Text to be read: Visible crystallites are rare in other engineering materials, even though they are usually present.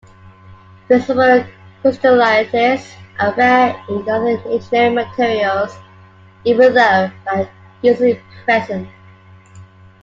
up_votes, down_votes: 1, 2